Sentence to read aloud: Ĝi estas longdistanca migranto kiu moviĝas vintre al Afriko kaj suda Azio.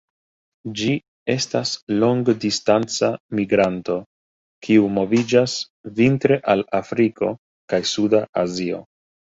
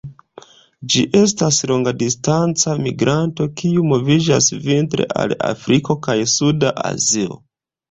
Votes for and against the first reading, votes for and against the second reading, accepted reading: 2, 0, 1, 2, first